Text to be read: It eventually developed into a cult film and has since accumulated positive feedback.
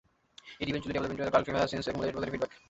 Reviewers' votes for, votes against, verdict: 0, 2, rejected